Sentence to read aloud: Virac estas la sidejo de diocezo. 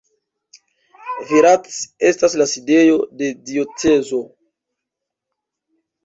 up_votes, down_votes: 2, 0